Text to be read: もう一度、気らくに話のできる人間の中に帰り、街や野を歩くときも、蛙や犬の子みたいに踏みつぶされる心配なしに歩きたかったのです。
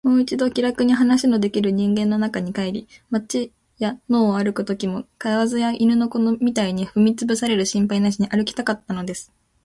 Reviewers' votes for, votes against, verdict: 4, 2, accepted